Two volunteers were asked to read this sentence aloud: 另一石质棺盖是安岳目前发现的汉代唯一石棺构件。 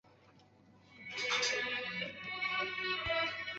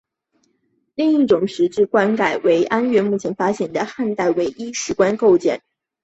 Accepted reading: second